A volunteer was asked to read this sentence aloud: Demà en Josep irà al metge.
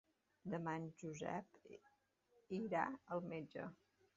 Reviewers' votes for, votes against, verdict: 4, 1, accepted